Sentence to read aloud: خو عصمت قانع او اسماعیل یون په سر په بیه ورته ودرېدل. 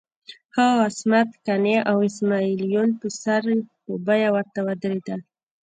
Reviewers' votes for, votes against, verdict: 3, 1, accepted